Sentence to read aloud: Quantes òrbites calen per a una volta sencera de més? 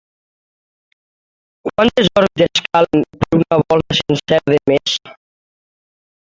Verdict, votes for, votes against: rejected, 0, 2